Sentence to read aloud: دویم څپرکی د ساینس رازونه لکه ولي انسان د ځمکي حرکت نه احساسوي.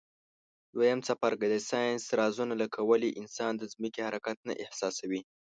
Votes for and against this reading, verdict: 2, 0, accepted